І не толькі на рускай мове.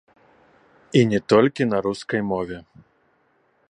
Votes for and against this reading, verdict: 0, 2, rejected